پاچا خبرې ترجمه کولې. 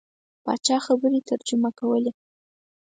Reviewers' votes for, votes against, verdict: 4, 0, accepted